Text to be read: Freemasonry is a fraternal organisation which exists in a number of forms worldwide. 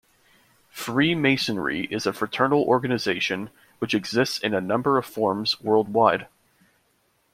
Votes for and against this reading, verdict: 2, 0, accepted